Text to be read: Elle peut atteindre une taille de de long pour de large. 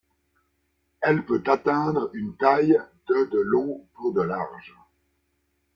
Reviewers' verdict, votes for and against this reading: rejected, 1, 2